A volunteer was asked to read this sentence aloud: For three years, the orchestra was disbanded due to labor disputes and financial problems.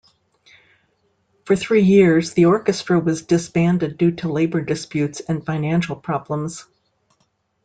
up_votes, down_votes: 2, 0